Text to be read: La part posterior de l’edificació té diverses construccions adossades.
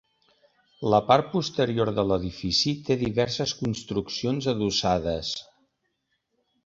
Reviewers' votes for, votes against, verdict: 0, 3, rejected